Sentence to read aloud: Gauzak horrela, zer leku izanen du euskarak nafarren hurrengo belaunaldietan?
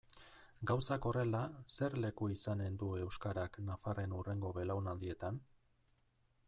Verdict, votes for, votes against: accepted, 2, 0